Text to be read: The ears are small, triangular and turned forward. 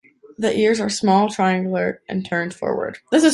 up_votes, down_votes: 1, 2